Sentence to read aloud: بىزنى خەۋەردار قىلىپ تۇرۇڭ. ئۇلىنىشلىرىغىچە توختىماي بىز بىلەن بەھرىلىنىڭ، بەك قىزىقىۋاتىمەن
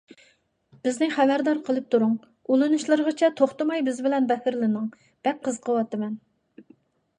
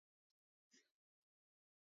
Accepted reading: first